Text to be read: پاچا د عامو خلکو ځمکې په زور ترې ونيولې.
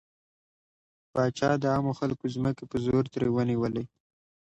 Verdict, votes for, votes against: accepted, 2, 0